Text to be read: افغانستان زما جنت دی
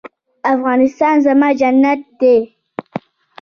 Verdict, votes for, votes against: accepted, 2, 0